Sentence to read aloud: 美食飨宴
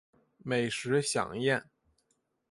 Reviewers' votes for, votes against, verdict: 3, 1, accepted